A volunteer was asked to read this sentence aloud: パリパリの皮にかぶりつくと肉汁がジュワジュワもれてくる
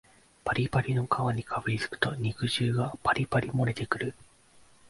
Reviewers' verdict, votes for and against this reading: rejected, 1, 2